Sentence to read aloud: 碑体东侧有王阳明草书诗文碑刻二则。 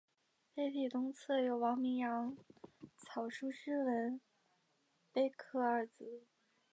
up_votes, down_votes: 1, 2